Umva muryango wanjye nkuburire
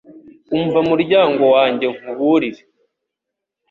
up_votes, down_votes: 2, 0